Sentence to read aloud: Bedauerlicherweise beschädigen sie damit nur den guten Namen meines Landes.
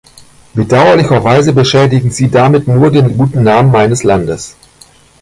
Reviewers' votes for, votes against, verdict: 1, 2, rejected